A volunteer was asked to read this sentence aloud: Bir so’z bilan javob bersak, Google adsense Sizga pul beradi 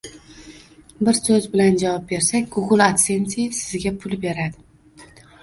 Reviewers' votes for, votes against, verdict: 1, 2, rejected